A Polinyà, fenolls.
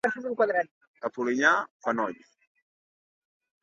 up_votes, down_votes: 1, 2